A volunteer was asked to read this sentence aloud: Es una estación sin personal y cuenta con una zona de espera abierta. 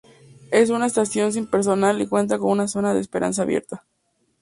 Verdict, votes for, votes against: rejected, 0, 2